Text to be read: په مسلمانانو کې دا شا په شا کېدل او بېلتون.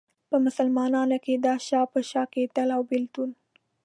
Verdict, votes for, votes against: accepted, 2, 0